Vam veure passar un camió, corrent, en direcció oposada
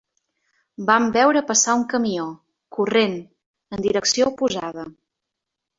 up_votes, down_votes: 2, 0